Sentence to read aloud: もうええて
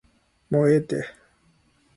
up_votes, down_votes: 2, 0